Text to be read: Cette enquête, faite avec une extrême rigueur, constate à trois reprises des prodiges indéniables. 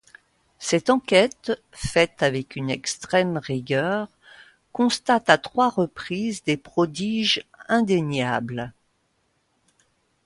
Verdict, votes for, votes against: accepted, 2, 0